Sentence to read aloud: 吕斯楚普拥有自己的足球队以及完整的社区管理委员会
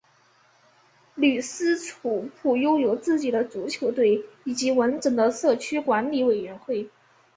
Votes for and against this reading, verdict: 2, 0, accepted